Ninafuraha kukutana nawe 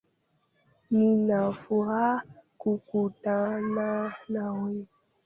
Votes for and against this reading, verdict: 0, 2, rejected